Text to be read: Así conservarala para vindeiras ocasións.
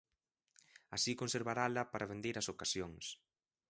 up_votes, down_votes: 3, 0